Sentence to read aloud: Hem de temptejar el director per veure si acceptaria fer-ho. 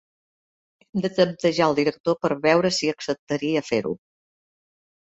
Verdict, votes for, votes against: rejected, 2, 3